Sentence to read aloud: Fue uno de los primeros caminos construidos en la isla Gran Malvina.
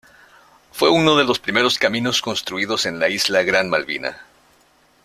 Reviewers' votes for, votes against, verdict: 2, 0, accepted